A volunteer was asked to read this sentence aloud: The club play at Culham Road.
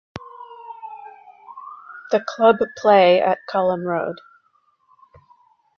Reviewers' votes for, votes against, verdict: 2, 0, accepted